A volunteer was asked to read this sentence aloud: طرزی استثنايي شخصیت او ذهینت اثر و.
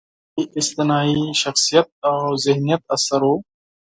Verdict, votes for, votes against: rejected, 2, 4